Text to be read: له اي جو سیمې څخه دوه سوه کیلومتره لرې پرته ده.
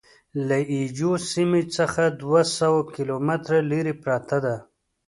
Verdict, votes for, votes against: accepted, 3, 0